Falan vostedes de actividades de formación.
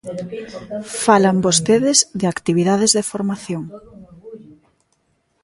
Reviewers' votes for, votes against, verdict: 1, 2, rejected